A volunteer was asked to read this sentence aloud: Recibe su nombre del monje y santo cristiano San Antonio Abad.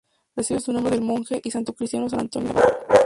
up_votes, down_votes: 0, 8